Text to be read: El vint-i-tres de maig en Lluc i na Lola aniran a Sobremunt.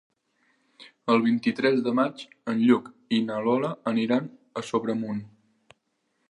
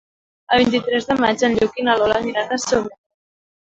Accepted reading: first